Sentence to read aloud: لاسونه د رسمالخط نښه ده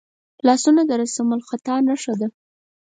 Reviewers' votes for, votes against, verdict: 4, 2, accepted